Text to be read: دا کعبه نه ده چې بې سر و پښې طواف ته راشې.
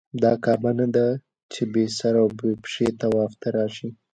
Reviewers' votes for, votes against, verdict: 2, 0, accepted